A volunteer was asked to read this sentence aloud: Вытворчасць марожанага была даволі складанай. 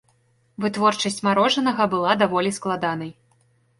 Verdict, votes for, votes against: accepted, 2, 0